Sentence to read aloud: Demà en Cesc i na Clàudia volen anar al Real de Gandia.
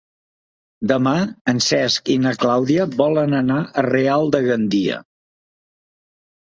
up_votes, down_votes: 0, 2